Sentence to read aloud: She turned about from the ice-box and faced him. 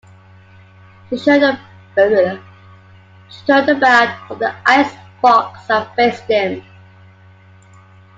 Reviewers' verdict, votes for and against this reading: rejected, 0, 2